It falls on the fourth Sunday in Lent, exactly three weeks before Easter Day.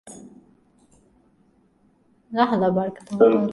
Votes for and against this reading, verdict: 0, 2, rejected